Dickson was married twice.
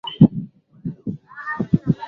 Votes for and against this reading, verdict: 0, 2, rejected